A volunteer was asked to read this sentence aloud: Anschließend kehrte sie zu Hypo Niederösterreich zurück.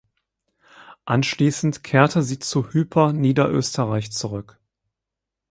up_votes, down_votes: 0, 4